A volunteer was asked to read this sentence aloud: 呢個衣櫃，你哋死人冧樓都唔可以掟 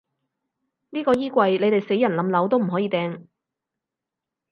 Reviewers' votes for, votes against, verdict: 4, 0, accepted